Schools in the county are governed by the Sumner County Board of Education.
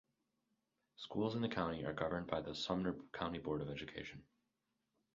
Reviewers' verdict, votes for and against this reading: rejected, 2, 4